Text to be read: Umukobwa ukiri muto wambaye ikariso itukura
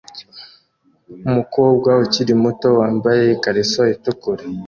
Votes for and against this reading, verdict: 2, 0, accepted